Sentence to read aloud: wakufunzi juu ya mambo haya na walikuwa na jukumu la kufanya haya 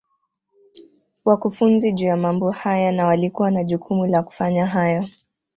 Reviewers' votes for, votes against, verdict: 2, 0, accepted